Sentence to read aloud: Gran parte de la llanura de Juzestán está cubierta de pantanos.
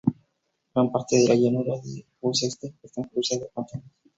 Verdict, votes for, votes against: rejected, 0, 2